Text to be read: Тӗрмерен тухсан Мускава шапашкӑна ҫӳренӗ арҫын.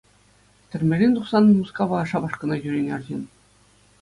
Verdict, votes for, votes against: accepted, 2, 0